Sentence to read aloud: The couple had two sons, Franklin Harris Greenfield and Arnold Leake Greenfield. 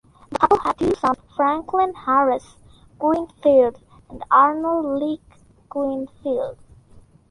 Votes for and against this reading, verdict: 0, 2, rejected